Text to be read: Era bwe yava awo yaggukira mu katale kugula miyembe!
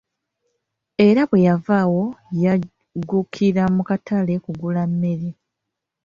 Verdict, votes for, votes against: accepted, 2, 0